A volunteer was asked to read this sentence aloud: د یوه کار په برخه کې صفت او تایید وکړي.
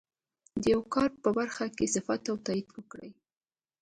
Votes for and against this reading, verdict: 2, 0, accepted